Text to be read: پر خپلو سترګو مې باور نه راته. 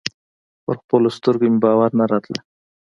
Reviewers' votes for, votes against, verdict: 2, 0, accepted